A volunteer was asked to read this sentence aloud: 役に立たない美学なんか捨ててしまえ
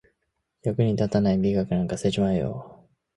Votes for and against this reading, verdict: 0, 2, rejected